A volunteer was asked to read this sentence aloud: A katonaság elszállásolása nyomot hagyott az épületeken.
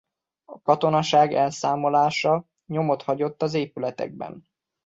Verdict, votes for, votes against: rejected, 0, 2